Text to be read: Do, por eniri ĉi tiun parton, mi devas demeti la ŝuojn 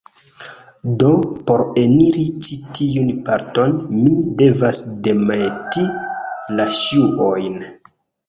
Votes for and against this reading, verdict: 2, 0, accepted